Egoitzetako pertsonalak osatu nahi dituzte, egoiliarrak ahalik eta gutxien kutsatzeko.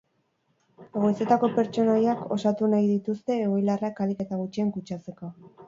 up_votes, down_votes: 2, 2